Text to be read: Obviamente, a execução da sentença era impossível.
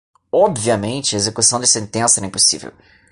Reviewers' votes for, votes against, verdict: 2, 0, accepted